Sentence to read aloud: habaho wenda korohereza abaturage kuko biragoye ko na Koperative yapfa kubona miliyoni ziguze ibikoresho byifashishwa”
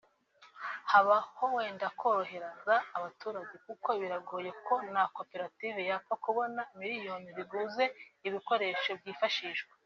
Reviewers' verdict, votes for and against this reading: rejected, 1, 2